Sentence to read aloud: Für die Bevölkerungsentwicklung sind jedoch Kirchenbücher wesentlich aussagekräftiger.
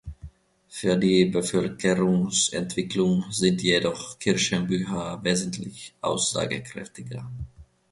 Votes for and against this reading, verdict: 2, 0, accepted